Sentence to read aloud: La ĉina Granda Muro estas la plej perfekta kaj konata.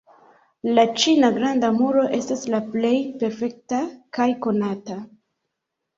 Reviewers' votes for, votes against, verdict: 0, 2, rejected